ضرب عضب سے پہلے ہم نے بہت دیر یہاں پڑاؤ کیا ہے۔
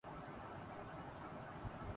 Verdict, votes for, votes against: rejected, 1, 4